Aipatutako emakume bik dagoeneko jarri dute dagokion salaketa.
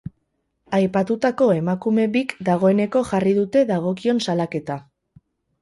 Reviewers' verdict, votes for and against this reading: accepted, 8, 0